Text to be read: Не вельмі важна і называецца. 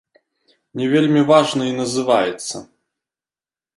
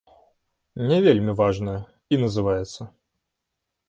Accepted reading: first